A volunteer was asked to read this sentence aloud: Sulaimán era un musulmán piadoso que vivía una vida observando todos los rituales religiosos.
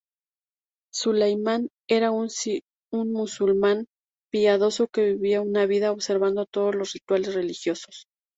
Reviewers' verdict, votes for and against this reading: rejected, 0, 2